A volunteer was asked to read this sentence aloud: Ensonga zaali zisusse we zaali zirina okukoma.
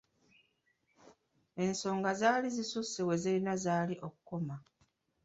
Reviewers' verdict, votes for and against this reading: accepted, 2, 1